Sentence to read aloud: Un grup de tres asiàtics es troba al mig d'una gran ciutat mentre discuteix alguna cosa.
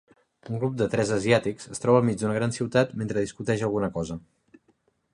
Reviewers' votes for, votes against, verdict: 2, 0, accepted